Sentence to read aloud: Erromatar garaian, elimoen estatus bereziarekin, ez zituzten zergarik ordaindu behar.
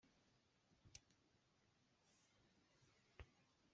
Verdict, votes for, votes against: rejected, 0, 2